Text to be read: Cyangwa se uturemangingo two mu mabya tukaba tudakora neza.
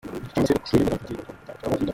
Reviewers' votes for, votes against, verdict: 0, 2, rejected